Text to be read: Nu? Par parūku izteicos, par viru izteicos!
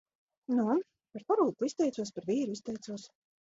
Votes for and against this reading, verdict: 0, 2, rejected